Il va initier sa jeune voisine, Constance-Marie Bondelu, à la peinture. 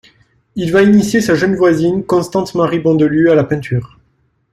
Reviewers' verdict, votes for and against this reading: rejected, 1, 2